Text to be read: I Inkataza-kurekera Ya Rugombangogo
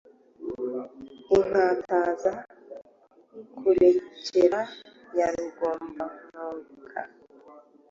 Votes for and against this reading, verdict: 0, 2, rejected